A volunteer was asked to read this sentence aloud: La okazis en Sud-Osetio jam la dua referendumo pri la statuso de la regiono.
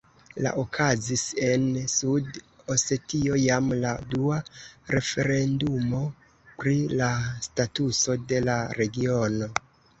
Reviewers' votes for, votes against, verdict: 2, 0, accepted